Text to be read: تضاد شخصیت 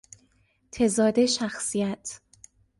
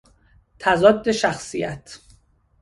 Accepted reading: second